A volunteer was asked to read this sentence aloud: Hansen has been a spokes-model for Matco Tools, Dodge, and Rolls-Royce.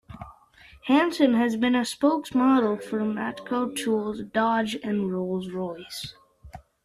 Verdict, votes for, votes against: accepted, 2, 0